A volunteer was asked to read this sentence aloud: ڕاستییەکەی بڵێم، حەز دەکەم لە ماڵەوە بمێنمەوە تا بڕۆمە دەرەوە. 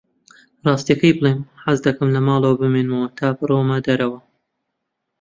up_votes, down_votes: 2, 0